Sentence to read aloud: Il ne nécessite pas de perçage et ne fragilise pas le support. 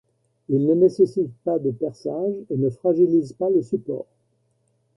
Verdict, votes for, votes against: accepted, 2, 0